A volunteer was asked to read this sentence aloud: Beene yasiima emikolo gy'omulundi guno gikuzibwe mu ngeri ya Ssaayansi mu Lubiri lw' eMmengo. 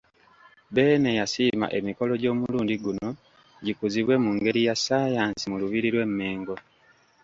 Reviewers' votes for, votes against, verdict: 2, 0, accepted